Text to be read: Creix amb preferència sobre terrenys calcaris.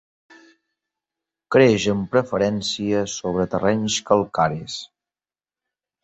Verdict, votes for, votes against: accepted, 2, 0